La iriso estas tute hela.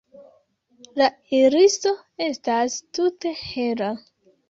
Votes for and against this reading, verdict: 0, 2, rejected